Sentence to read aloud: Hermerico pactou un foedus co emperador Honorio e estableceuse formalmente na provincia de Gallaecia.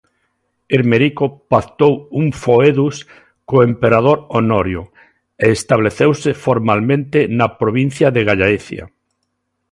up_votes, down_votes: 2, 0